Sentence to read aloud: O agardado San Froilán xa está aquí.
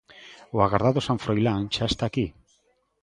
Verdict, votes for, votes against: accepted, 2, 0